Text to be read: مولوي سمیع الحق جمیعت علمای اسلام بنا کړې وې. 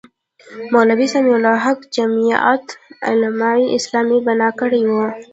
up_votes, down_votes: 0, 2